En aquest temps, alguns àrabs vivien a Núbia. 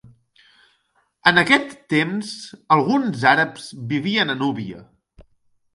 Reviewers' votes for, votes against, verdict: 2, 0, accepted